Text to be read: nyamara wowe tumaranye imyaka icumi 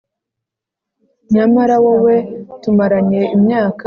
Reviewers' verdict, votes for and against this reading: rejected, 0, 2